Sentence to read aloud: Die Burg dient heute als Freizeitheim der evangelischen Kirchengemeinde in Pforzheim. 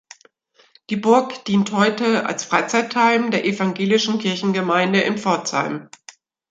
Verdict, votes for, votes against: accepted, 2, 1